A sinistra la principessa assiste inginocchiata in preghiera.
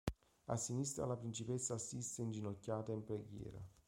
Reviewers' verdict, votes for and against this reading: accepted, 2, 0